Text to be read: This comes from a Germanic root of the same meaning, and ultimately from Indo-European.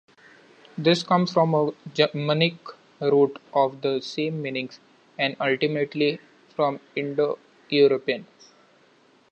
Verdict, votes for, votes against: rejected, 0, 2